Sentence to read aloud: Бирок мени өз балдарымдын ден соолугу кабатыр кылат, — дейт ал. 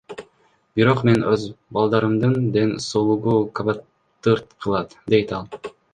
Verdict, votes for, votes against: rejected, 1, 2